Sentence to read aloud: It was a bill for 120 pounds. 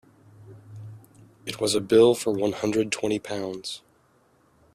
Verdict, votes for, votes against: rejected, 0, 2